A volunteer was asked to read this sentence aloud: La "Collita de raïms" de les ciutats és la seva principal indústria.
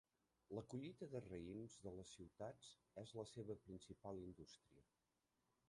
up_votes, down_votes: 1, 2